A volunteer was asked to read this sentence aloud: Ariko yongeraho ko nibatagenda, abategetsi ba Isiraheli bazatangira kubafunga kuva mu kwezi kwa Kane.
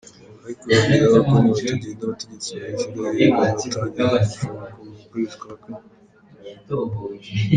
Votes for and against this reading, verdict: 0, 2, rejected